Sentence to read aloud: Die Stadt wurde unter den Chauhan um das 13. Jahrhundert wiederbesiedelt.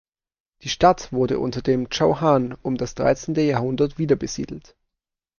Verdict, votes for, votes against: rejected, 0, 2